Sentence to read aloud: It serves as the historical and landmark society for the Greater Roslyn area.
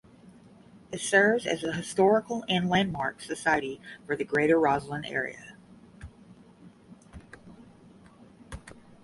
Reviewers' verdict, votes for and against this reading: accepted, 10, 0